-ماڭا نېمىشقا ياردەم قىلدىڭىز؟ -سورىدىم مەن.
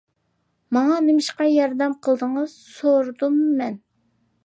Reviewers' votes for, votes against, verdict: 2, 0, accepted